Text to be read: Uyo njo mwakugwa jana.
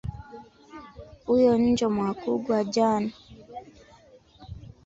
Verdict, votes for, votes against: rejected, 1, 2